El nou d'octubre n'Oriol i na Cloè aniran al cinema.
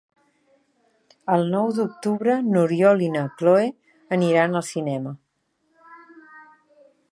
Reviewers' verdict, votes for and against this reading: rejected, 0, 2